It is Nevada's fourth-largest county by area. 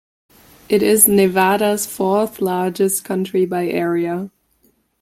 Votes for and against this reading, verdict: 2, 0, accepted